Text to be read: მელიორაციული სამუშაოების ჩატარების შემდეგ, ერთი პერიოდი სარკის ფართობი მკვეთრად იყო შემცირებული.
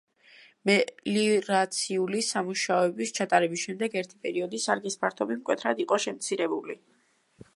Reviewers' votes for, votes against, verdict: 0, 2, rejected